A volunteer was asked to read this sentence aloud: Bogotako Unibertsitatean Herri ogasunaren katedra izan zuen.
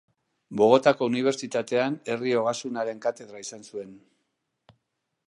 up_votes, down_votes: 2, 0